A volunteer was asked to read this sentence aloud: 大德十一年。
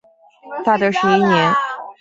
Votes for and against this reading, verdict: 2, 0, accepted